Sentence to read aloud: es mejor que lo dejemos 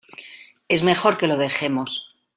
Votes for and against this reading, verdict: 2, 0, accepted